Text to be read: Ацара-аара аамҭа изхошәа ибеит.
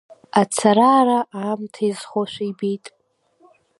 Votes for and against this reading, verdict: 2, 0, accepted